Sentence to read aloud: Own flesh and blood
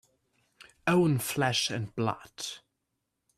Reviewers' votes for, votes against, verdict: 2, 1, accepted